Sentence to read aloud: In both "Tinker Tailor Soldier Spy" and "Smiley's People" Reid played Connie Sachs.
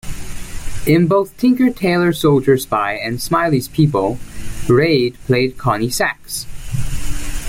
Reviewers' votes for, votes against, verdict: 2, 0, accepted